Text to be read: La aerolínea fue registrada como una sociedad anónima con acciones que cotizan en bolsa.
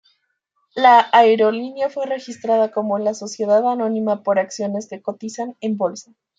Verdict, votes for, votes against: rejected, 1, 2